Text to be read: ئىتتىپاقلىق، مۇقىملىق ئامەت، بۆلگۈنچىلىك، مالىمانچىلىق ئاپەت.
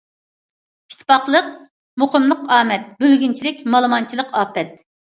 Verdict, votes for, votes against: accepted, 2, 0